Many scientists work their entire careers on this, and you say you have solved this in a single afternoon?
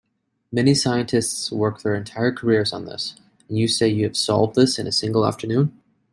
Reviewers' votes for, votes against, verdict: 2, 0, accepted